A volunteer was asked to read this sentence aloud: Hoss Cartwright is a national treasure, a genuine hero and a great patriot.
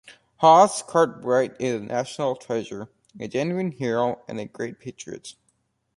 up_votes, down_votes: 2, 1